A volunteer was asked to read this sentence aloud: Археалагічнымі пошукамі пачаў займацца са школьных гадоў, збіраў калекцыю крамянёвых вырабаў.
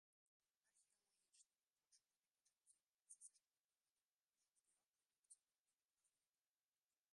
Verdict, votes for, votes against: rejected, 1, 2